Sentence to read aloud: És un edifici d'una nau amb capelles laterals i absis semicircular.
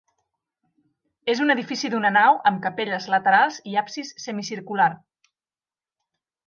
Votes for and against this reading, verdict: 5, 0, accepted